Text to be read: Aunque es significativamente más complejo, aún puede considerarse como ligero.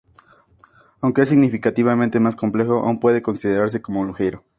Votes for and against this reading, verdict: 2, 0, accepted